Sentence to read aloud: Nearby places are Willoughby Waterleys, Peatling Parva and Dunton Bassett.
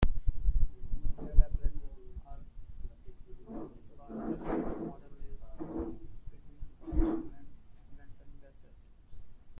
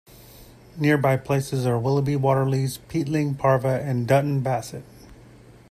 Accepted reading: second